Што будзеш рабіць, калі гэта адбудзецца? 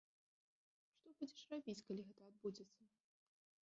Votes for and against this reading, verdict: 1, 2, rejected